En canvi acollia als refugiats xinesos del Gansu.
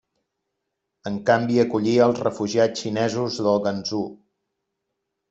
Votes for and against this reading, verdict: 1, 2, rejected